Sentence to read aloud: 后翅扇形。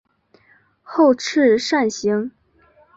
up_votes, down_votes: 7, 0